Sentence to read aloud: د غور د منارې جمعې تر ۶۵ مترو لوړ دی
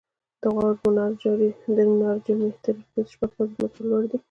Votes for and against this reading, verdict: 0, 2, rejected